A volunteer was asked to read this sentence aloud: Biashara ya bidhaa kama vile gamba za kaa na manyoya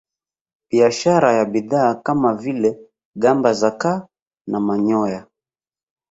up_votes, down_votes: 1, 2